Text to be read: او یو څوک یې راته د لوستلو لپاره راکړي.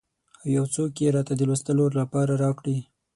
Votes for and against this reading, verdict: 6, 0, accepted